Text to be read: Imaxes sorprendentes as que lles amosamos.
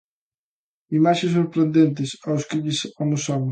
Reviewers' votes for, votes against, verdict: 0, 2, rejected